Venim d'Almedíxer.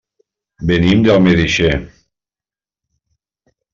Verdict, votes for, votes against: rejected, 1, 2